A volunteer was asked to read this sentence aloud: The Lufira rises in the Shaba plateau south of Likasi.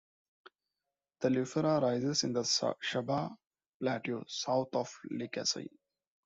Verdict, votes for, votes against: rejected, 1, 2